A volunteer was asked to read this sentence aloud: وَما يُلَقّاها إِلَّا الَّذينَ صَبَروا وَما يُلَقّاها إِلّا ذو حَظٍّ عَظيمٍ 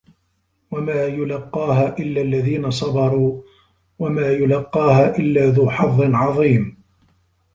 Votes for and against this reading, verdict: 3, 0, accepted